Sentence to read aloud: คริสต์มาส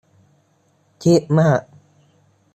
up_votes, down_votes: 0, 3